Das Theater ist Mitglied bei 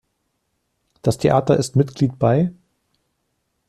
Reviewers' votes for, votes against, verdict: 2, 0, accepted